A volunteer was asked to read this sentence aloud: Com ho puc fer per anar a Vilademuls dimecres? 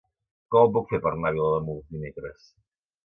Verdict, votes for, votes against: rejected, 0, 2